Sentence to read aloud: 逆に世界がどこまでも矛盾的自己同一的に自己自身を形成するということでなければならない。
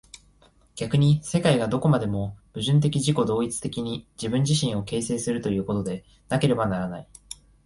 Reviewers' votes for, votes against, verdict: 2, 0, accepted